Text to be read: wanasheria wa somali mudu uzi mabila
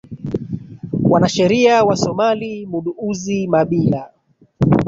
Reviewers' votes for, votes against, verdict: 1, 2, rejected